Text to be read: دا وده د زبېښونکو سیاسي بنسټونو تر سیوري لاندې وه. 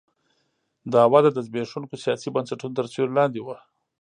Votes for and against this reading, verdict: 1, 2, rejected